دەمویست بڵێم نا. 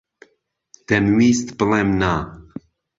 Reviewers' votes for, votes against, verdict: 2, 0, accepted